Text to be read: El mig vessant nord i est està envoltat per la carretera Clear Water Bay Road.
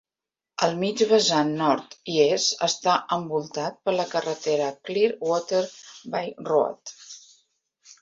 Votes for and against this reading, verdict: 2, 0, accepted